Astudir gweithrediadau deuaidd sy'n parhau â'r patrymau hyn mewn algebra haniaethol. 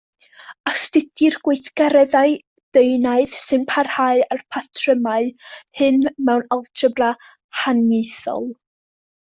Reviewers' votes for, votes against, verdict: 0, 2, rejected